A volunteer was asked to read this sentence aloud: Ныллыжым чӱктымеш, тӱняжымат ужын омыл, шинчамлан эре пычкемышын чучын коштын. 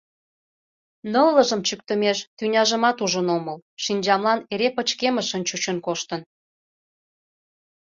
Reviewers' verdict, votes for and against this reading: accepted, 2, 0